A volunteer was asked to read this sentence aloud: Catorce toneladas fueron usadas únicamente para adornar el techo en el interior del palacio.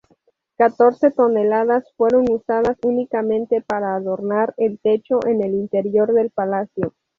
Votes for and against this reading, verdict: 0, 2, rejected